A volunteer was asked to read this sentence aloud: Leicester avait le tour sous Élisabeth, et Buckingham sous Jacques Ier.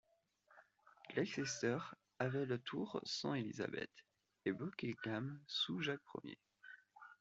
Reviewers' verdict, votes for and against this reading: accepted, 2, 1